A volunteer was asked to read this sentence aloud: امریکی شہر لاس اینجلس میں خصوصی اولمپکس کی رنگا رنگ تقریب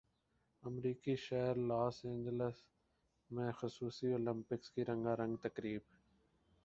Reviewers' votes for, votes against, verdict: 2, 0, accepted